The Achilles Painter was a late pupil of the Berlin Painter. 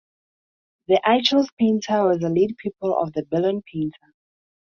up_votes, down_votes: 2, 0